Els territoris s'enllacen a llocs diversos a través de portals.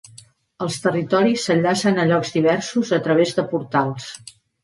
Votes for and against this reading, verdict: 2, 0, accepted